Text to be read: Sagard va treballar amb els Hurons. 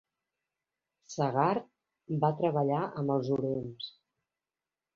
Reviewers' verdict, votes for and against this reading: accepted, 3, 1